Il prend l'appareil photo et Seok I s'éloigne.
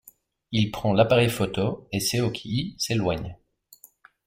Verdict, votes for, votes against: rejected, 0, 2